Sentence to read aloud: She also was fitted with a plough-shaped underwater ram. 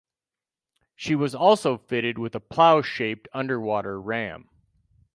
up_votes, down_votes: 2, 2